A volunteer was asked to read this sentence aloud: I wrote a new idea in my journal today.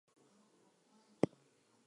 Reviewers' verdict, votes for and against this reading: rejected, 0, 4